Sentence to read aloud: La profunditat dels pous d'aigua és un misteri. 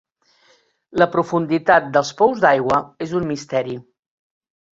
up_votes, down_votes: 4, 0